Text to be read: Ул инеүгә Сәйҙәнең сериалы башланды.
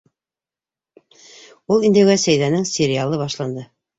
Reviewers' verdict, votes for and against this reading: accepted, 2, 0